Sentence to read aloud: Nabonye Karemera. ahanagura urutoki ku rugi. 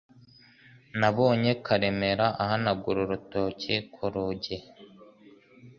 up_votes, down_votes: 2, 0